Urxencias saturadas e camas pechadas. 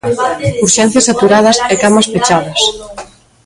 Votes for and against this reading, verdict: 1, 2, rejected